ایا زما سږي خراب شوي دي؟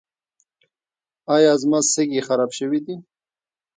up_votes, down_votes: 2, 0